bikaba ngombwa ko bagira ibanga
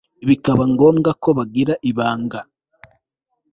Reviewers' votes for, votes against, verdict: 2, 0, accepted